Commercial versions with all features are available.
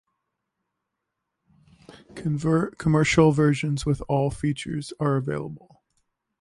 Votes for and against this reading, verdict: 0, 2, rejected